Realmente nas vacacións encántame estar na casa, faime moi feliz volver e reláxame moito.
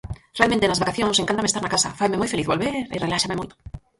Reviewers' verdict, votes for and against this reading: rejected, 0, 4